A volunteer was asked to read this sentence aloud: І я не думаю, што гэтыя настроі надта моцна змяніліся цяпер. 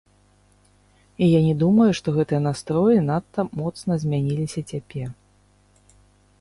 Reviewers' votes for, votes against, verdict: 0, 2, rejected